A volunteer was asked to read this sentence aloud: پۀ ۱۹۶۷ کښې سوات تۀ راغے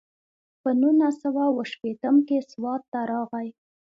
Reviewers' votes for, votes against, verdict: 0, 2, rejected